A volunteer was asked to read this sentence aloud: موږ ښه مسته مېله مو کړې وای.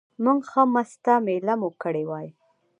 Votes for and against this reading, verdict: 1, 2, rejected